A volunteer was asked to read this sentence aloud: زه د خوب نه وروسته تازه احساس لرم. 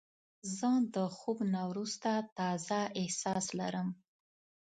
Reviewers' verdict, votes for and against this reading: rejected, 1, 2